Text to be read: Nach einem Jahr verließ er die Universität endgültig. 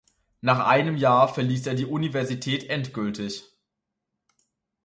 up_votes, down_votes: 2, 0